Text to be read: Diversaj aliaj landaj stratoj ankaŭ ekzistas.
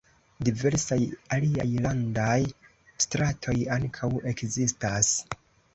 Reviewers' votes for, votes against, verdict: 2, 0, accepted